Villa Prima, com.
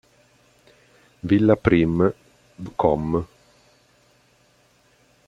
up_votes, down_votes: 1, 2